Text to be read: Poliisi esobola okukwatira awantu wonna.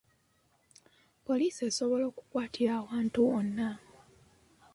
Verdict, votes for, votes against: accepted, 2, 1